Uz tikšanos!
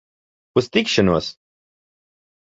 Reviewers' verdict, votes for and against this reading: accepted, 2, 0